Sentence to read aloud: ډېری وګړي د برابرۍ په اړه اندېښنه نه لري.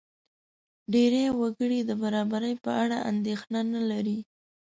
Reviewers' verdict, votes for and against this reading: accepted, 2, 0